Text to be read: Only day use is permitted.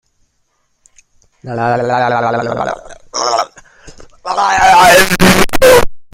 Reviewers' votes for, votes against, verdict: 1, 2, rejected